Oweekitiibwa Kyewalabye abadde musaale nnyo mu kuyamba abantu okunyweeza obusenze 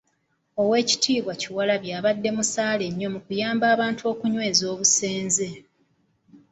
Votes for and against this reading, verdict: 2, 0, accepted